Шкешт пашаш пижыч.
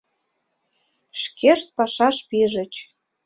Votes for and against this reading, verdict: 2, 0, accepted